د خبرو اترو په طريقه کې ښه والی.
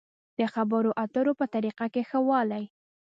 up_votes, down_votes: 2, 0